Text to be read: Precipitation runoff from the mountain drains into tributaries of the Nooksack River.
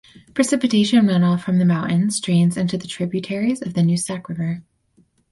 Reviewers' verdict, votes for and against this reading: accepted, 4, 0